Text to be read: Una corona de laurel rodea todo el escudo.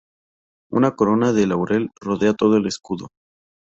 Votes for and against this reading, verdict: 2, 2, rejected